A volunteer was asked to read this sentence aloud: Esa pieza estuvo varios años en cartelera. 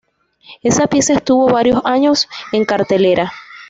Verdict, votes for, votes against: accepted, 2, 0